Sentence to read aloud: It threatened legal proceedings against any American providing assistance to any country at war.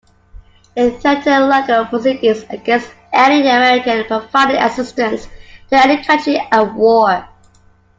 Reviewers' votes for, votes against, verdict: 0, 2, rejected